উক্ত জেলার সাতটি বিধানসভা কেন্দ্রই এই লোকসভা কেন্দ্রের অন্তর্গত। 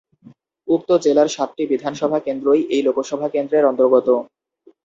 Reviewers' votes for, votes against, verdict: 2, 0, accepted